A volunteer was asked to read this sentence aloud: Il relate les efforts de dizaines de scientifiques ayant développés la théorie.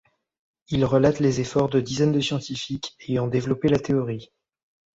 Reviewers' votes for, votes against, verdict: 1, 2, rejected